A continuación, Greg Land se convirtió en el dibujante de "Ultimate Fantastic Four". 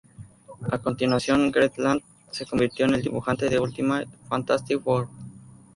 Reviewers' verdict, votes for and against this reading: rejected, 2, 2